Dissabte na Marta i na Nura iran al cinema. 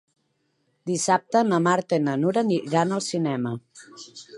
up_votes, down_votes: 2, 3